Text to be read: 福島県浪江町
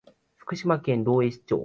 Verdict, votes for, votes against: accepted, 3, 2